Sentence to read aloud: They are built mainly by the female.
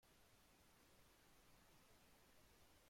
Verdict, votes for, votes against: rejected, 0, 2